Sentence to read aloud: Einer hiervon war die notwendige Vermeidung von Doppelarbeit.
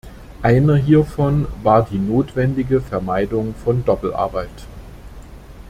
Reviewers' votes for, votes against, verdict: 2, 0, accepted